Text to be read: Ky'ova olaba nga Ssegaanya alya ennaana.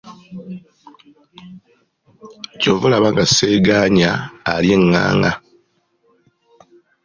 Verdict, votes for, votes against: accepted, 2, 1